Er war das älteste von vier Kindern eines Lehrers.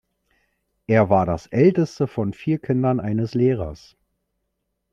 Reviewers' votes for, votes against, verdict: 2, 0, accepted